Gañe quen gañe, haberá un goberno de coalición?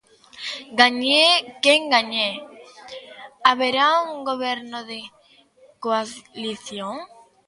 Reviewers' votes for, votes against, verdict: 0, 2, rejected